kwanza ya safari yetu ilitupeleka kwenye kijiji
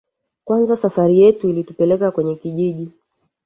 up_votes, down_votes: 1, 2